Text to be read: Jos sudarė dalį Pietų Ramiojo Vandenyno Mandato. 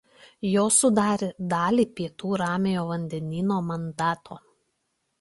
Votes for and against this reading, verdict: 2, 0, accepted